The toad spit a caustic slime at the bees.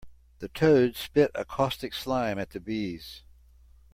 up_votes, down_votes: 2, 0